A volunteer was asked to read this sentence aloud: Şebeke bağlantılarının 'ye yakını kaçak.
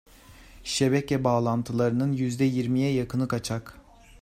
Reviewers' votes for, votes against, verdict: 2, 1, accepted